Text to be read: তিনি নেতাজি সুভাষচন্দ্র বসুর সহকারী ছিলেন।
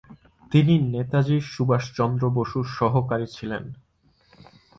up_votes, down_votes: 2, 0